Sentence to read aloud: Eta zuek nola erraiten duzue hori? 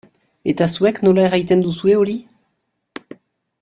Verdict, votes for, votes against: accepted, 2, 0